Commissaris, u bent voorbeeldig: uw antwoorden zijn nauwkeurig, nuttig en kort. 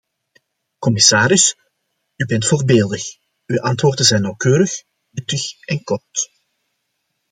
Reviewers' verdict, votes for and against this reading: accepted, 2, 0